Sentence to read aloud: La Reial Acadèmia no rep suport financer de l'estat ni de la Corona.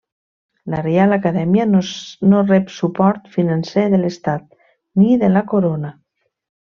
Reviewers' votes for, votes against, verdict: 1, 2, rejected